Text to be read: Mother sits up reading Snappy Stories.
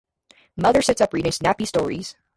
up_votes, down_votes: 0, 2